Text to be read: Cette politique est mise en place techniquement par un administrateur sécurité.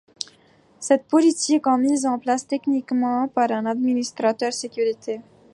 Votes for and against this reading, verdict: 1, 2, rejected